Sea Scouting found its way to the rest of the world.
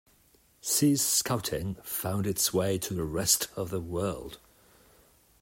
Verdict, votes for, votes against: accepted, 2, 0